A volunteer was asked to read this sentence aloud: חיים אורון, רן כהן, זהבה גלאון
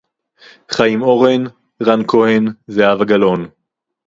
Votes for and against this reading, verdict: 0, 2, rejected